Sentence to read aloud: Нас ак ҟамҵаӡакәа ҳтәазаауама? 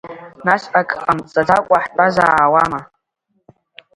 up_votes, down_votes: 2, 0